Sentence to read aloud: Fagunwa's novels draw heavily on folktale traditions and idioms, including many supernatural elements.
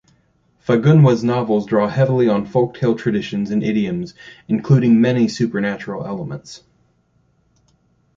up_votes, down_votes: 2, 0